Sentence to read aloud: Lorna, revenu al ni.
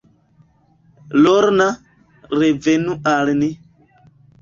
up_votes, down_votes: 3, 0